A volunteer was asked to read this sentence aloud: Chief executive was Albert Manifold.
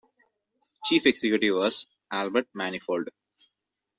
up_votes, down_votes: 2, 0